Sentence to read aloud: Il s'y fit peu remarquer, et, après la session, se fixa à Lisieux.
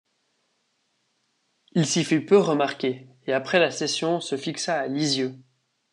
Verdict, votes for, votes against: accepted, 2, 0